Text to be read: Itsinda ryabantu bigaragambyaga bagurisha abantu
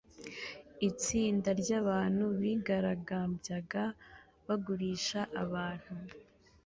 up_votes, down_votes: 2, 0